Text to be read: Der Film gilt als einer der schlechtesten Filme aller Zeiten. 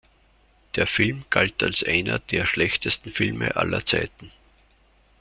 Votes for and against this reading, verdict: 1, 2, rejected